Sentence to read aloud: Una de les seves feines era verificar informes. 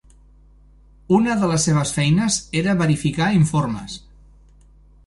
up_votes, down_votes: 3, 0